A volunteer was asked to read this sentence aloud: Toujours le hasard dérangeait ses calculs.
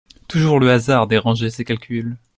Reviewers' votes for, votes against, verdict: 2, 0, accepted